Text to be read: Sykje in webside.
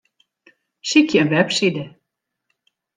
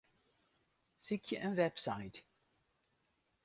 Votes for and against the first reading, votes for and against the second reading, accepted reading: 2, 0, 0, 4, first